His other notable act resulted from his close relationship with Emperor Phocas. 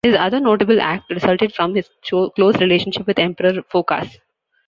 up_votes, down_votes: 1, 2